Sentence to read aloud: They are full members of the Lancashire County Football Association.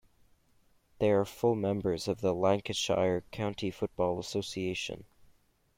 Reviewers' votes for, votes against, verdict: 2, 0, accepted